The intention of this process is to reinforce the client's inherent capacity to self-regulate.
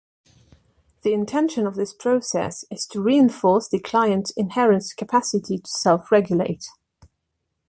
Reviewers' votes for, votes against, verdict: 2, 0, accepted